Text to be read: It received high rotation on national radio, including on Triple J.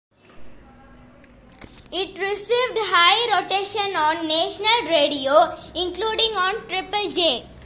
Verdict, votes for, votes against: accepted, 3, 0